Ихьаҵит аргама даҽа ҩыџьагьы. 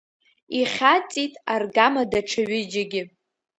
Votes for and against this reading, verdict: 2, 0, accepted